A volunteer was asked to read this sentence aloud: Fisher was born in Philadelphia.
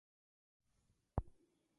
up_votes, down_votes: 0, 2